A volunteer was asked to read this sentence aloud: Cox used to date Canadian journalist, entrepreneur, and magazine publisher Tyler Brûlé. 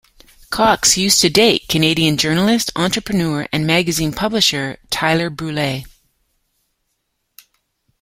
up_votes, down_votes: 2, 0